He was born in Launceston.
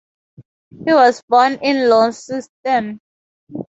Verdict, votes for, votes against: accepted, 2, 0